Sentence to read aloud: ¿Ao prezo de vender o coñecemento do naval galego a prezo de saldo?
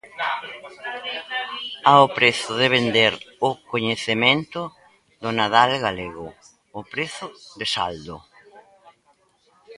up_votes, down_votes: 0, 2